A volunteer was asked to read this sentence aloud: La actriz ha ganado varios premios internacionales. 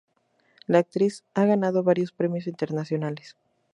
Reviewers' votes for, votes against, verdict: 4, 0, accepted